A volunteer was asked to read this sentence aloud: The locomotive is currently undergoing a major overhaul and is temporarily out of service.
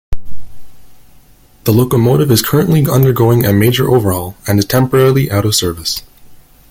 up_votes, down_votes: 2, 0